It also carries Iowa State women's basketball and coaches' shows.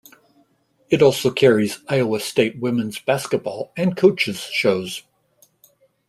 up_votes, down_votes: 2, 0